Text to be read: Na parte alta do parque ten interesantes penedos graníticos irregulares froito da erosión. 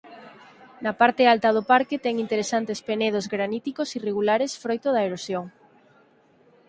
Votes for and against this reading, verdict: 4, 0, accepted